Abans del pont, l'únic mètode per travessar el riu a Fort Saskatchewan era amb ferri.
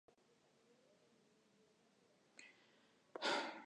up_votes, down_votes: 1, 4